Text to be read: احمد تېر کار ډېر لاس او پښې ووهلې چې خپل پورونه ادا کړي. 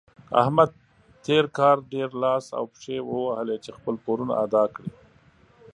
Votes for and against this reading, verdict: 2, 0, accepted